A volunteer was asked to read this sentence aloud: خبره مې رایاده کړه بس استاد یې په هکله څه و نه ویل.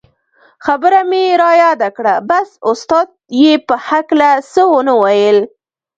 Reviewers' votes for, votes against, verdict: 1, 2, rejected